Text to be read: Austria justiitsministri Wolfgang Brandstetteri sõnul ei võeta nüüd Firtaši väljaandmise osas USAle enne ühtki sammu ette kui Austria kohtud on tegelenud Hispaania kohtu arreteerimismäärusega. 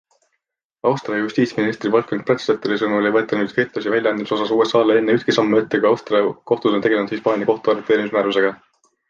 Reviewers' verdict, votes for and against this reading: accepted, 2, 0